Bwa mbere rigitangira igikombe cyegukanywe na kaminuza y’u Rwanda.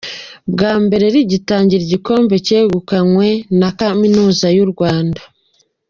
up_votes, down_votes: 2, 0